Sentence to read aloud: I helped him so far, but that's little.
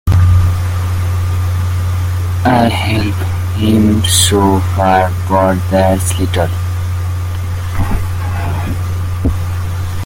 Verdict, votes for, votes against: rejected, 1, 2